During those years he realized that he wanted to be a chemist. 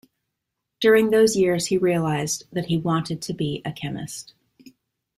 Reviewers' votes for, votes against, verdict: 2, 0, accepted